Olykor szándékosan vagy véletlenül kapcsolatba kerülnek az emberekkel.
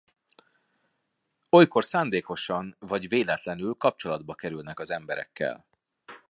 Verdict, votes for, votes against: accepted, 2, 0